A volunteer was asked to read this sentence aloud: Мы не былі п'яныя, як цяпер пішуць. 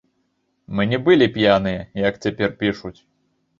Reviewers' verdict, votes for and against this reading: accepted, 2, 1